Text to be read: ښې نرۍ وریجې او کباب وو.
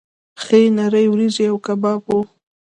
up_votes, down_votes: 2, 0